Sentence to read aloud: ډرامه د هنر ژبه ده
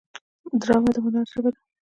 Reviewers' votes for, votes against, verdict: 0, 2, rejected